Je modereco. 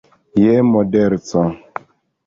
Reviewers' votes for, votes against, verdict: 1, 2, rejected